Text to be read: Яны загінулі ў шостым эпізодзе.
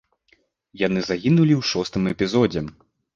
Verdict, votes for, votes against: accepted, 2, 0